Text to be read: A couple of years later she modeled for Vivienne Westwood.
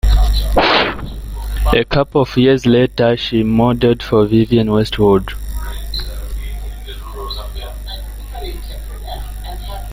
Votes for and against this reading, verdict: 1, 2, rejected